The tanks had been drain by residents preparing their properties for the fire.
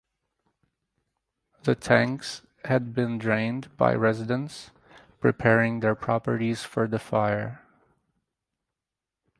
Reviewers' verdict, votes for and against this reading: rejected, 0, 4